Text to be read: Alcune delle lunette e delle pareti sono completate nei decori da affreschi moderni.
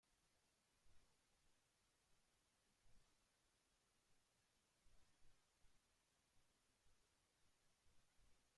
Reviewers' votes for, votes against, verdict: 0, 2, rejected